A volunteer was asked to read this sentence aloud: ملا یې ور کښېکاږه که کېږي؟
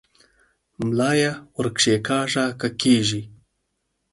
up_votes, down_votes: 4, 0